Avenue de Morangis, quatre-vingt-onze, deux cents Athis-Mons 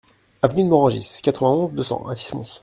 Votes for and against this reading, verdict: 0, 2, rejected